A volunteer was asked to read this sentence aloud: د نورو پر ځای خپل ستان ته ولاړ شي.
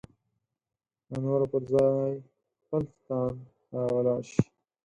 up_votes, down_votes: 2, 4